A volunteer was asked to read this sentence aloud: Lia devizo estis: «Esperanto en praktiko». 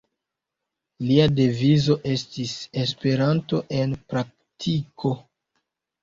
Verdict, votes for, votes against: rejected, 1, 2